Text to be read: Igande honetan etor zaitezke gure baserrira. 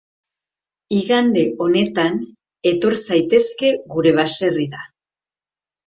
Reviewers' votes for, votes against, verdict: 6, 0, accepted